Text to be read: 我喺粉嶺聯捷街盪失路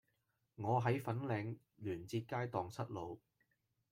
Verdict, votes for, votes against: accepted, 2, 1